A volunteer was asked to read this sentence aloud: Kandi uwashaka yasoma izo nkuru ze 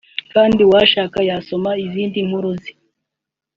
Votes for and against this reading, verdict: 1, 2, rejected